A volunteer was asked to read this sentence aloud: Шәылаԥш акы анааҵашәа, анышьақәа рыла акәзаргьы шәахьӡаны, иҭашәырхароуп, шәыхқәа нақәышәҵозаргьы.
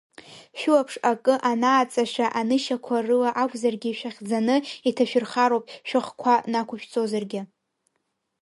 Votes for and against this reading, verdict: 2, 0, accepted